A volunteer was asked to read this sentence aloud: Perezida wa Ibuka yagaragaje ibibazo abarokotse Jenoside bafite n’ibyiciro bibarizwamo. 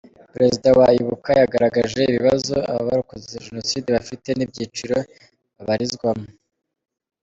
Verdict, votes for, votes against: accepted, 3, 0